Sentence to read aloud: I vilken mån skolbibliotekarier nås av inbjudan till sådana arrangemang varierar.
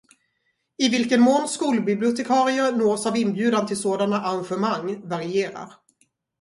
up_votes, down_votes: 4, 0